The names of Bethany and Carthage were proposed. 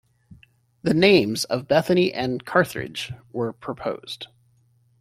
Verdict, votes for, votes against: rejected, 1, 2